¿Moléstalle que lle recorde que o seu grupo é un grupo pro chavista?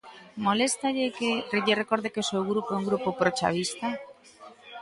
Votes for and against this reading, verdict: 0, 2, rejected